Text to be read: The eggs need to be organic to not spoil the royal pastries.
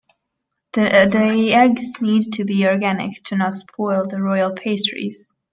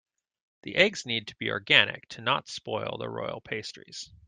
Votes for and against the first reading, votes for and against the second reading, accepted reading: 1, 2, 2, 0, second